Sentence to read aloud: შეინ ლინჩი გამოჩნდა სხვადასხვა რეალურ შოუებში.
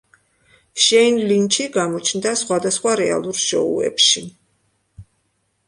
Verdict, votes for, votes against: accepted, 2, 0